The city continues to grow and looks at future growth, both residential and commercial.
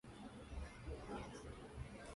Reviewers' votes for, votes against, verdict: 0, 2, rejected